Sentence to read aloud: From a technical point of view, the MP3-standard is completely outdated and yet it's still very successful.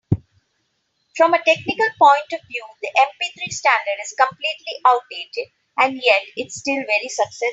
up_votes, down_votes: 0, 2